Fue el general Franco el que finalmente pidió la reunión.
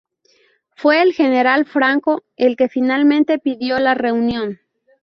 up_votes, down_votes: 0, 2